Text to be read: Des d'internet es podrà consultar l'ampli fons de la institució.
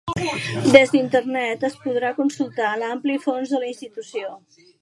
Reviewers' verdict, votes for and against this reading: accepted, 2, 1